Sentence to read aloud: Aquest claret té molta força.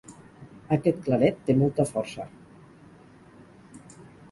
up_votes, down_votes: 4, 0